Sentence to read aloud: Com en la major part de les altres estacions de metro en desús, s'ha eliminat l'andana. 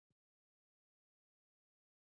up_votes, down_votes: 1, 2